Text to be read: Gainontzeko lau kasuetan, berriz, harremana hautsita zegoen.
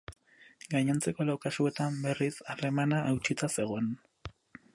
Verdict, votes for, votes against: accepted, 4, 0